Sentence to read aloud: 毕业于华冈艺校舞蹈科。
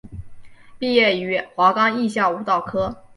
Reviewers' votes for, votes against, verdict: 2, 0, accepted